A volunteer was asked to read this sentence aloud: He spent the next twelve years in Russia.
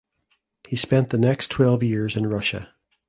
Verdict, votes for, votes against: accepted, 2, 0